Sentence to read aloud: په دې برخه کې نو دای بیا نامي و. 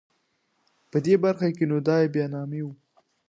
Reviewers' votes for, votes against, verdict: 2, 0, accepted